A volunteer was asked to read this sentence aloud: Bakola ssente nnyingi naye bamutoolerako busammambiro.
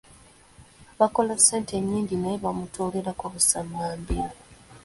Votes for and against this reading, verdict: 2, 1, accepted